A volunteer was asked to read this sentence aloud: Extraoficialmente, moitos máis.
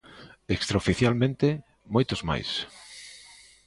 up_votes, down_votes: 2, 0